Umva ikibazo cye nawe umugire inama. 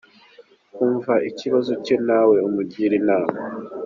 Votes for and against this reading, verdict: 2, 0, accepted